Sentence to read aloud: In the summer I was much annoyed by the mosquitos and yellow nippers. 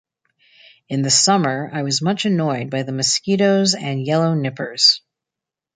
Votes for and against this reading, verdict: 2, 1, accepted